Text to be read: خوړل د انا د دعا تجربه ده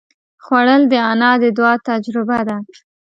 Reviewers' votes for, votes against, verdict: 2, 0, accepted